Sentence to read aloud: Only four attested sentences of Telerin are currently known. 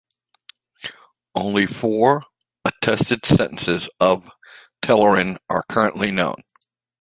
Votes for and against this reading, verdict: 2, 0, accepted